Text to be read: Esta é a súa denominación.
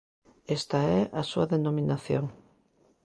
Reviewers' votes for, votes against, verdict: 2, 0, accepted